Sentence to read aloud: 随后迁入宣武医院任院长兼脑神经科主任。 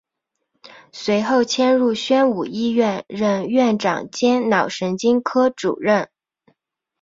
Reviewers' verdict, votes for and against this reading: accepted, 2, 0